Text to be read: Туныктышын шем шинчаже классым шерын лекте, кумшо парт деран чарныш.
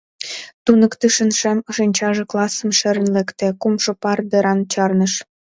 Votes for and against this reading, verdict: 1, 2, rejected